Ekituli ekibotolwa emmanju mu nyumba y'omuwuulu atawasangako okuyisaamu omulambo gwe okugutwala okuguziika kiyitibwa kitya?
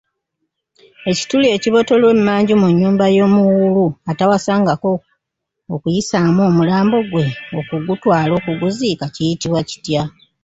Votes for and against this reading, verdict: 0, 2, rejected